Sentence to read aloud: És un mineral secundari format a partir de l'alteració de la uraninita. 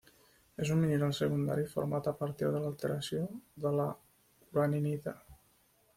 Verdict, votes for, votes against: accepted, 2, 1